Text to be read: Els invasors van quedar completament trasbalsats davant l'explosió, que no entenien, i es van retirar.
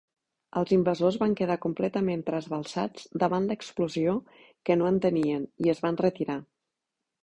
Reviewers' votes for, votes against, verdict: 2, 0, accepted